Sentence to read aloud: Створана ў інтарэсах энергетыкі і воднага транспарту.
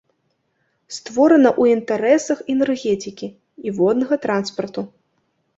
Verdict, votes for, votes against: rejected, 0, 2